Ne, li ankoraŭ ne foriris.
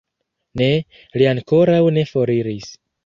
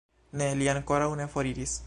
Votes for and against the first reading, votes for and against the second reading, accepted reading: 1, 2, 2, 1, second